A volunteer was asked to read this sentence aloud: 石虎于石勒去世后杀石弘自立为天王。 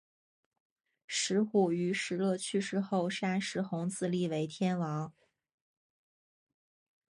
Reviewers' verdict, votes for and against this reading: accepted, 2, 1